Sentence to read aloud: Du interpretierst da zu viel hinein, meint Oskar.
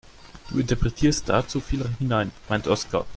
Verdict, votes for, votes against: accepted, 2, 0